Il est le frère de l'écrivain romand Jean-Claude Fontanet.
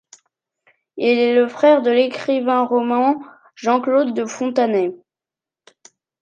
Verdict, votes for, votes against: rejected, 1, 2